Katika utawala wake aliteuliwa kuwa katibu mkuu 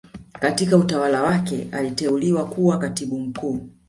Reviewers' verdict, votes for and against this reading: accepted, 2, 1